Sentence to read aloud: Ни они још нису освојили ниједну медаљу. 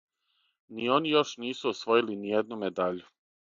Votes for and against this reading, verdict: 6, 0, accepted